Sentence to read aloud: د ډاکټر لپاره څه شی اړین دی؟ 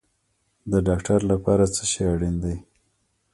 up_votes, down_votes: 2, 1